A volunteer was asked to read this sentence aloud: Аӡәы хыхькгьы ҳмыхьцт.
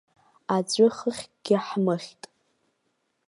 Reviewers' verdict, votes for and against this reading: rejected, 0, 2